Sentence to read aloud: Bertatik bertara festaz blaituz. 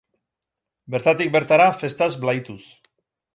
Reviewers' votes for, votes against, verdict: 6, 0, accepted